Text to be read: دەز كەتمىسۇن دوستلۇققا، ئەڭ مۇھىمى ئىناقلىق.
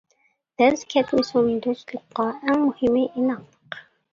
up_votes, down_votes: 1, 2